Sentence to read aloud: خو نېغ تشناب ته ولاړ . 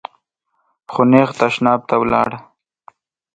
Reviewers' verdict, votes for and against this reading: accepted, 2, 0